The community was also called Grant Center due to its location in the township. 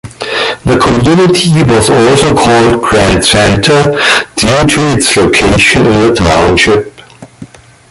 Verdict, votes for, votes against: rejected, 0, 2